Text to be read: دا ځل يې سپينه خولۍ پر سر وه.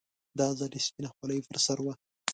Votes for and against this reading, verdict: 2, 0, accepted